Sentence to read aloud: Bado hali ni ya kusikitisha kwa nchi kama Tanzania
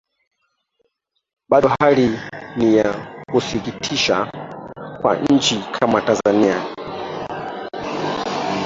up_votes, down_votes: 0, 2